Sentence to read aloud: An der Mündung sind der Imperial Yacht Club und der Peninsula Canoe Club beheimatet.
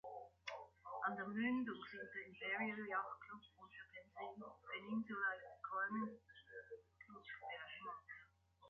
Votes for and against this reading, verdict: 0, 3, rejected